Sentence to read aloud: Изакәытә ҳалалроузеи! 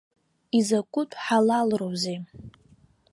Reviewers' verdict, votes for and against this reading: accepted, 3, 0